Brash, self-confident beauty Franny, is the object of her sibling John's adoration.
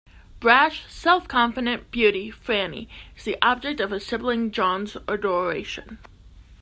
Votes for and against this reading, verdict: 2, 0, accepted